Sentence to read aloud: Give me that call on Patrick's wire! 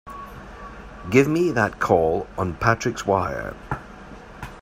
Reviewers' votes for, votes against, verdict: 3, 0, accepted